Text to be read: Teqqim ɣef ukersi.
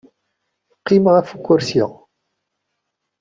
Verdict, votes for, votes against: accepted, 2, 0